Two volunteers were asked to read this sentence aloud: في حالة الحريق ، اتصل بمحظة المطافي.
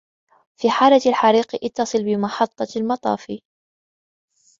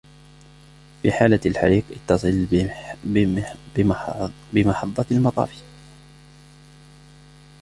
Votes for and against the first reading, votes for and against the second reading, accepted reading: 2, 0, 1, 2, first